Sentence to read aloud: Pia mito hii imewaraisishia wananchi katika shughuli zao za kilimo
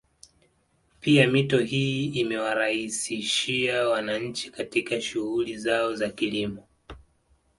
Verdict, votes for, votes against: accepted, 2, 0